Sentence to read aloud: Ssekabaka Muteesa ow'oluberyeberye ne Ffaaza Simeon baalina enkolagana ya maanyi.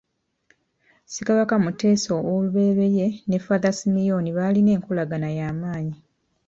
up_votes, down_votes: 0, 2